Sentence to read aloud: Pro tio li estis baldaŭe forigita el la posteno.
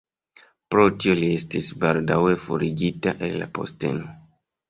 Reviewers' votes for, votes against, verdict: 1, 2, rejected